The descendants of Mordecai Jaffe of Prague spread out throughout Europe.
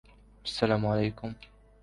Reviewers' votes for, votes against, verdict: 1, 2, rejected